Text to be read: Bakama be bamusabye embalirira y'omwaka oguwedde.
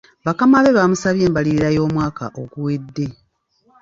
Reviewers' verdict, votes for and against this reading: accepted, 2, 0